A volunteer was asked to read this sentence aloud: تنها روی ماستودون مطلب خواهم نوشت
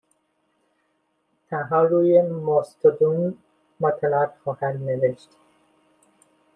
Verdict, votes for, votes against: rejected, 1, 2